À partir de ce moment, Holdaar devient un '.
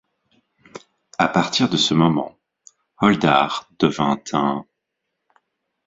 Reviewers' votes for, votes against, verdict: 0, 6, rejected